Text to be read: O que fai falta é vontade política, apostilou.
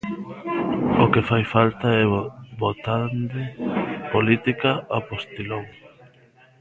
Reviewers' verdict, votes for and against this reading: rejected, 0, 3